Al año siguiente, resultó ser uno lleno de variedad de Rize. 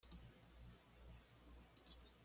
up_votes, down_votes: 1, 2